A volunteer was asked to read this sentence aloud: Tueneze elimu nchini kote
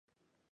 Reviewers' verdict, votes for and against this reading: rejected, 1, 12